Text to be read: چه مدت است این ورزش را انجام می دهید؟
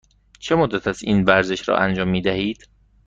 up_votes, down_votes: 2, 0